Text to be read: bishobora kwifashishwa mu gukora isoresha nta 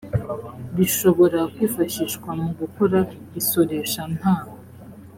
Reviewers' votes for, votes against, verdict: 2, 0, accepted